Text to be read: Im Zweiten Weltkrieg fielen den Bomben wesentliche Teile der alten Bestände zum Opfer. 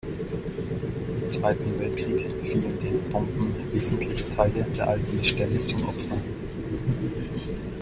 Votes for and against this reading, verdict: 1, 2, rejected